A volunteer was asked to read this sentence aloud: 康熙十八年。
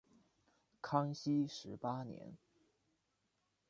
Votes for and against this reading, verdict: 2, 0, accepted